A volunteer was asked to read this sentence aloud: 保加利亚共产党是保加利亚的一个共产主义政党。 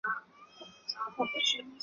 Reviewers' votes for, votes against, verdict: 3, 4, rejected